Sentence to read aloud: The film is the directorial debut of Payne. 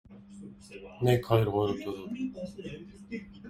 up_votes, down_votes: 0, 2